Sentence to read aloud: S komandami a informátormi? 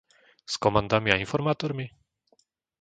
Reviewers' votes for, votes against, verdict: 2, 0, accepted